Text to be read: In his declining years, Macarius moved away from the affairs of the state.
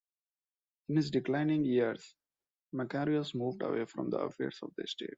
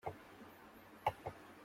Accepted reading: first